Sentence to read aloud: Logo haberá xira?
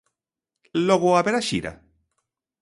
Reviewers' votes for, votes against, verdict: 2, 0, accepted